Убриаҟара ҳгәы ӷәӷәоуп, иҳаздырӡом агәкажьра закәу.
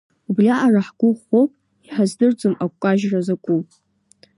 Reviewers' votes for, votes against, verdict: 2, 0, accepted